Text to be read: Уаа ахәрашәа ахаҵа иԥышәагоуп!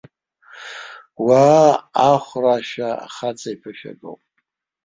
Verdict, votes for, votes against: accepted, 3, 1